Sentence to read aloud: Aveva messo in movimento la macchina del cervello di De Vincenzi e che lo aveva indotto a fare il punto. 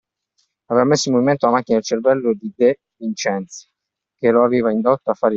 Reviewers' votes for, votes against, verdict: 0, 2, rejected